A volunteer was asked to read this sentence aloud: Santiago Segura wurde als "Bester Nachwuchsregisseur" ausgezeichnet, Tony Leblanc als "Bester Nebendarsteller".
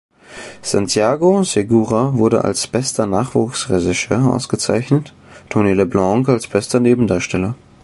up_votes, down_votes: 1, 2